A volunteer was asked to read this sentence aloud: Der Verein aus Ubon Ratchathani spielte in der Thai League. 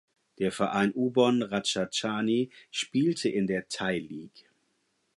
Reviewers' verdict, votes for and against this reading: rejected, 0, 4